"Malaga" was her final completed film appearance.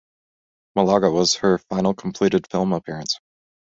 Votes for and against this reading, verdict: 2, 0, accepted